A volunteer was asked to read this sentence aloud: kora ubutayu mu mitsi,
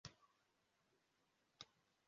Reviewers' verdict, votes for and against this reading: rejected, 0, 3